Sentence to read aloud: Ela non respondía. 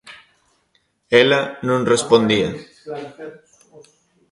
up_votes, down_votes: 1, 2